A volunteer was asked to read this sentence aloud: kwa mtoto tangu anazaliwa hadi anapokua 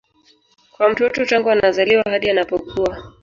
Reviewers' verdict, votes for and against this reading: rejected, 0, 2